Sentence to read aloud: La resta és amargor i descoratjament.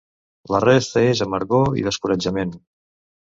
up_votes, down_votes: 2, 0